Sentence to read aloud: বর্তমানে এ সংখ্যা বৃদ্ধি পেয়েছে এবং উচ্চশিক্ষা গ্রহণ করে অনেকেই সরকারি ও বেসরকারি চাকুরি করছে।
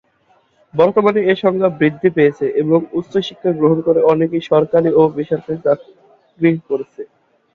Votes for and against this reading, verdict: 1, 2, rejected